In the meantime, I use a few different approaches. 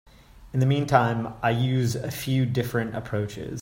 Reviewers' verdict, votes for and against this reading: accepted, 3, 0